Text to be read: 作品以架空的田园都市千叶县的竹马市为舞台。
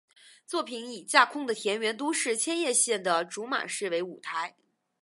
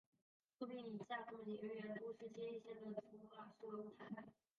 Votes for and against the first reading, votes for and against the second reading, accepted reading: 2, 0, 0, 2, first